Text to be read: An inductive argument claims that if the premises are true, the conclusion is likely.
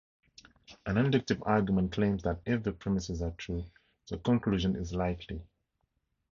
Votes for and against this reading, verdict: 2, 2, rejected